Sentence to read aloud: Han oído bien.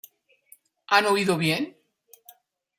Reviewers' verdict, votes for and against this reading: rejected, 0, 2